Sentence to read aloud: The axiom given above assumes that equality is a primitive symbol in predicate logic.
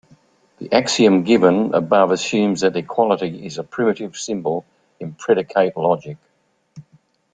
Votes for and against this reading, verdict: 1, 2, rejected